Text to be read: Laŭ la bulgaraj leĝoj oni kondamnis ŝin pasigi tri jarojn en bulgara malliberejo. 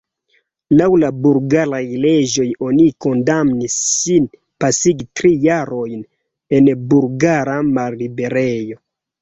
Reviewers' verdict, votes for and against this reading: rejected, 0, 2